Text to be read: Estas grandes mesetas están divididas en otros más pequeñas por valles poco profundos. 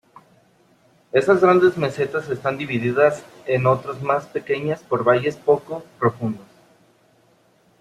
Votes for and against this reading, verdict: 3, 1, accepted